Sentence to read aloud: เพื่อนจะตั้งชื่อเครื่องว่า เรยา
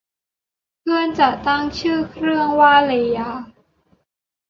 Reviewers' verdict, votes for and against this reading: accepted, 2, 0